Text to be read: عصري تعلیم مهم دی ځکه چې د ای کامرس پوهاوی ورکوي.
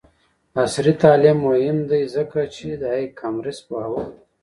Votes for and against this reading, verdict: 0, 2, rejected